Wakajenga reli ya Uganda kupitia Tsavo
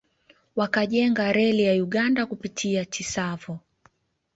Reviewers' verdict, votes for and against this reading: accepted, 2, 1